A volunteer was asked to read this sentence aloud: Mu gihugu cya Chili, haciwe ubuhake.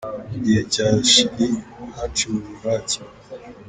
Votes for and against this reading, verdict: 1, 2, rejected